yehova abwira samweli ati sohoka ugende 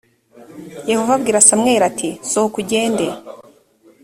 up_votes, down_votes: 2, 0